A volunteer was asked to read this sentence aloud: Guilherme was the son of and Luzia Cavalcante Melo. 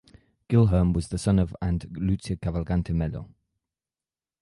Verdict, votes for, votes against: accepted, 2, 0